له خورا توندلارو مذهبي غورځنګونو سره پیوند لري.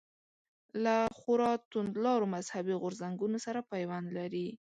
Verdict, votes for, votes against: accepted, 2, 0